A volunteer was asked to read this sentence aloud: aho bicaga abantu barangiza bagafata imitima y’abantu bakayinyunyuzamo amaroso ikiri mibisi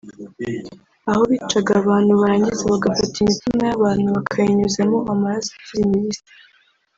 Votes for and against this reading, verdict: 2, 0, accepted